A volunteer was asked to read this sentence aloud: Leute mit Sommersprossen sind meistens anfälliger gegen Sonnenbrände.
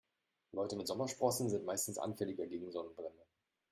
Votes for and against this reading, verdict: 0, 2, rejected